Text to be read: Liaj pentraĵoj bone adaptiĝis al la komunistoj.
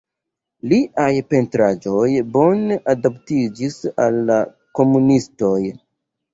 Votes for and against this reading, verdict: 1, 2, rejected